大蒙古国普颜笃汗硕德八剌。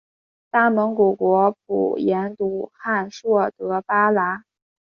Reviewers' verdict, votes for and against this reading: accepted, 4, 0